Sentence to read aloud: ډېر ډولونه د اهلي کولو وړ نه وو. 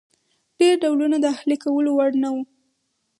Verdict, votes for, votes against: accepted, 4, 0